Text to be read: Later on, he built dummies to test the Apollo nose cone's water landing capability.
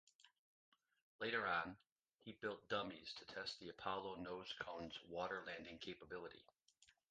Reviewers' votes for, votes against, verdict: 2, 0, accepted